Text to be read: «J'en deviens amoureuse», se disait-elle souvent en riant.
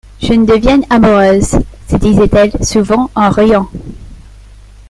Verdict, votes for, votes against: rejected, 0, 2